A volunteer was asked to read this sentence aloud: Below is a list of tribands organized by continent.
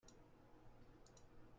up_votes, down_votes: 0, 2